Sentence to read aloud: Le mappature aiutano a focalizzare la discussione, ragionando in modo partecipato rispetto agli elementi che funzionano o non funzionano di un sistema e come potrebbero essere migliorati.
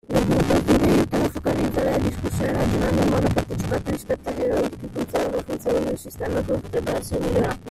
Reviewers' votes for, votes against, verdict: 0, 2, rejected